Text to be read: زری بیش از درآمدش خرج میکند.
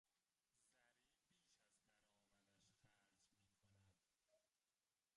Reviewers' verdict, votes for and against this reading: rejected, 0, 2